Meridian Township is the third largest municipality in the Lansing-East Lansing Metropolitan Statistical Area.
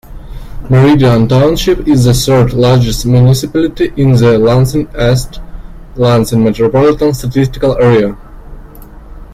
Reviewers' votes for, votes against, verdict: 1, 2, rejected